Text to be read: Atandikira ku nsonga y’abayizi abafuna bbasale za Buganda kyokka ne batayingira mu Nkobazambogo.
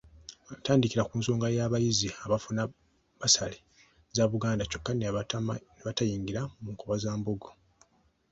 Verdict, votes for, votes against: accepted, 2, 0